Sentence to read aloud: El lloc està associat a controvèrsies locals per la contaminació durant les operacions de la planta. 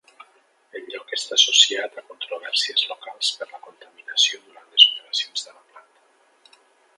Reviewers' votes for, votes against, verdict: 2, 0, accepted